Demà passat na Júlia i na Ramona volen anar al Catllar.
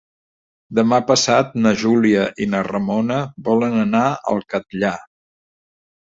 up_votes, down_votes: 2, 0